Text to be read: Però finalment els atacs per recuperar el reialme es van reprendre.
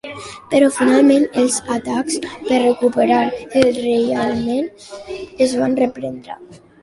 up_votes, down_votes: 2, 0